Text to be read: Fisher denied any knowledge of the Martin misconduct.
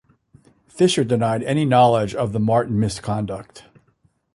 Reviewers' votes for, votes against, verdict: 2, 0, accepted